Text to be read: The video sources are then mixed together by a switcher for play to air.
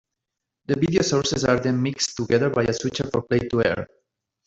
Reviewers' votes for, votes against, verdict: 2, 1, accepted